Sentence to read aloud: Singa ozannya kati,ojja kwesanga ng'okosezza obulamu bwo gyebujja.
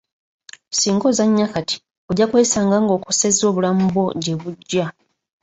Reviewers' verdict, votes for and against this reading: accepted, 2, 0